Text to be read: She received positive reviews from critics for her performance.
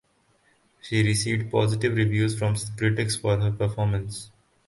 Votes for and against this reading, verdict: 4, 2, accepted